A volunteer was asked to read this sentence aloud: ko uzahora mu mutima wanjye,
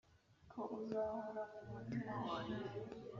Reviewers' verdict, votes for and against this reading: accepted, 2, 0